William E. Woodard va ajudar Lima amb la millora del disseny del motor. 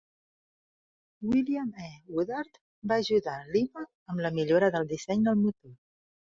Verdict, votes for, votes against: rejected, 0, 2